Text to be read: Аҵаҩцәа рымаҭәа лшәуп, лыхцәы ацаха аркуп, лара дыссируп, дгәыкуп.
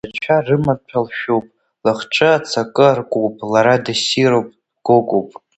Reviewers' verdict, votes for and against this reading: rejected, 0, 2